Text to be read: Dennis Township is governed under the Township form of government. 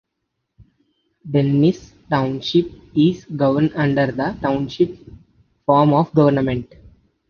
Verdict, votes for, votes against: accepted, 2, 0